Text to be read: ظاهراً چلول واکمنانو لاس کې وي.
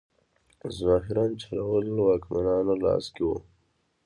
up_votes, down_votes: 0, 2